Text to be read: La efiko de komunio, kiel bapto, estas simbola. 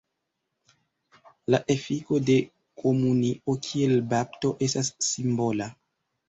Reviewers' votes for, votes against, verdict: 0, 2, rejected